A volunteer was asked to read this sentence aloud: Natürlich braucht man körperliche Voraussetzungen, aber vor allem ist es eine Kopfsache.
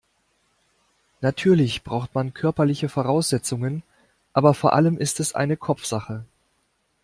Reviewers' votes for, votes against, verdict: 2, 0, accepted